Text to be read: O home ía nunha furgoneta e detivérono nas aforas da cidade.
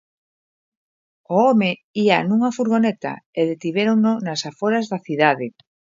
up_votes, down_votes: 2, 0